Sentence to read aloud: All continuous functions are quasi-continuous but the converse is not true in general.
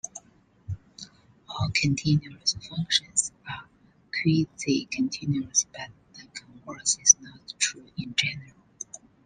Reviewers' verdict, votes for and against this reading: rejected, 1, 2